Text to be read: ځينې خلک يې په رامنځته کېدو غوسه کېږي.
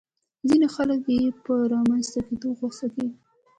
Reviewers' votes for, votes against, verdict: 2, 0, accepted